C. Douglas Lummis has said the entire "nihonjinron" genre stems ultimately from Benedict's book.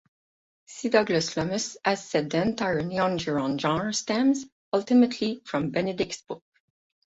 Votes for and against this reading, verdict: 4, 4, rejected